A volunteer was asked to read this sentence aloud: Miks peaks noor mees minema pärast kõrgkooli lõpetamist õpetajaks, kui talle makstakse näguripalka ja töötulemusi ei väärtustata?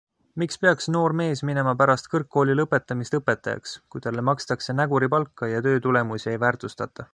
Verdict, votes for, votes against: accepted, 2, 0